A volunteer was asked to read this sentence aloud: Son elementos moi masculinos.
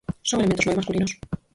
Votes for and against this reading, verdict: 0, 6, rejected